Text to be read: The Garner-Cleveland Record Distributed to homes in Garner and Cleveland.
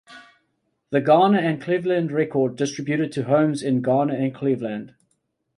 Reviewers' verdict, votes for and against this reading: rejected, 0, 2